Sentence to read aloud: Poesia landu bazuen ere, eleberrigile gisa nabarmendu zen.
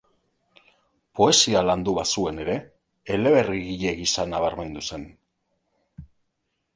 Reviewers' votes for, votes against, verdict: 2, 0, accepted